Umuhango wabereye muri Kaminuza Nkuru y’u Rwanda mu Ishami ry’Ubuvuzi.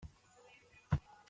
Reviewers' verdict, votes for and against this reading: rejected, 0, 3